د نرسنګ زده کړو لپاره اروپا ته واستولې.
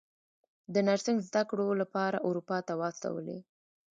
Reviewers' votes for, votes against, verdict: 1, 2, rejected